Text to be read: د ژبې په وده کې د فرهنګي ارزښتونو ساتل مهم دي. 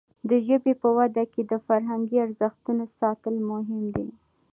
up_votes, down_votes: 1, 2